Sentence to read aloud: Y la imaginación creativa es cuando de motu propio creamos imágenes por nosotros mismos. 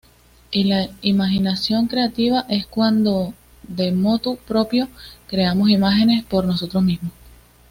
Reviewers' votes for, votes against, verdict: 2, 0, accepted